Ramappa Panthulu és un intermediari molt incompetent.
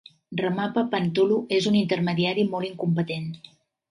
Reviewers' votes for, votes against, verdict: 3, 0, accepted